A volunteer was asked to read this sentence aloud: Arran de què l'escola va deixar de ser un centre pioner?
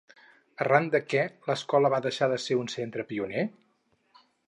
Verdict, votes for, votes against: accepted, 4, 0